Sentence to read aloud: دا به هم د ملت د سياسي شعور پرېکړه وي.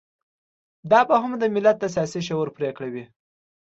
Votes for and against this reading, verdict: 2, 0, accepted